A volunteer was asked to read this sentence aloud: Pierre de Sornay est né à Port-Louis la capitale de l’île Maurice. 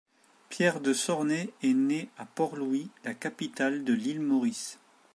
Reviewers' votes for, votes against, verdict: 3, 0, accepted